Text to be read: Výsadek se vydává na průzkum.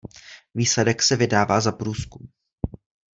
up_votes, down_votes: 0, 2